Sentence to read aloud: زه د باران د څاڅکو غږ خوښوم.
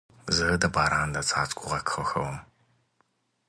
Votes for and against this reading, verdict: 2, 0, accepted